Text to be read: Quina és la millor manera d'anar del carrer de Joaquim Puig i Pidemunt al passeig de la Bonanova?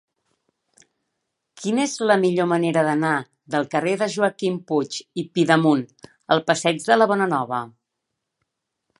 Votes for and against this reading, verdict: 3, 0, accepted